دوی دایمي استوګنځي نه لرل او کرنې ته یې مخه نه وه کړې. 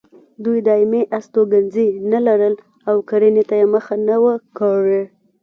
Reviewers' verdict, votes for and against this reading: rejected, 0, 2